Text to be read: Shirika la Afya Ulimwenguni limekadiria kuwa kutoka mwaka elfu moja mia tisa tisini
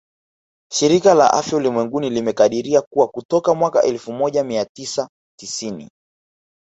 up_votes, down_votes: 2, 0